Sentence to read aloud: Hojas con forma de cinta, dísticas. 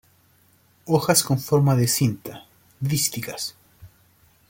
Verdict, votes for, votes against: accepted, 2, 0